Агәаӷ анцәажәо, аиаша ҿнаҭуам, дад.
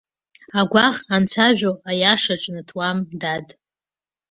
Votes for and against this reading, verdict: 2, 0, accepted